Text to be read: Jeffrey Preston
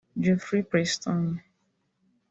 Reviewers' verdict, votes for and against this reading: rejected, 0, 2